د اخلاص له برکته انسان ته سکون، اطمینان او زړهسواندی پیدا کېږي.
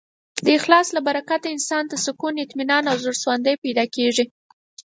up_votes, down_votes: 6, 0